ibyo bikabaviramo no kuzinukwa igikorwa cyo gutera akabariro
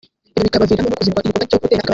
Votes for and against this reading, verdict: 0, 2, rejected